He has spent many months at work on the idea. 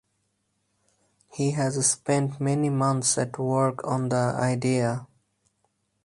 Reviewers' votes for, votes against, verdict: 4, 0, accepted